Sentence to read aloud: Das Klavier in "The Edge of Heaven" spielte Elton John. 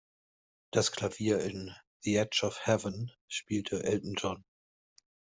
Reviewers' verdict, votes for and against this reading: accepted, 2, 0